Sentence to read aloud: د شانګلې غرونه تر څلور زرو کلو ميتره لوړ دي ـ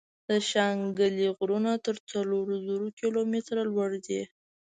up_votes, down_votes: 2, 0